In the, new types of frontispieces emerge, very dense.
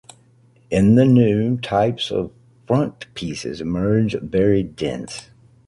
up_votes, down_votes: 0, 2